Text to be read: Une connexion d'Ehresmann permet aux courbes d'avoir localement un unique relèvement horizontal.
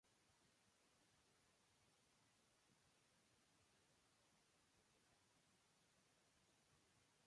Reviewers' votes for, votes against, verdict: 0, 2, rejected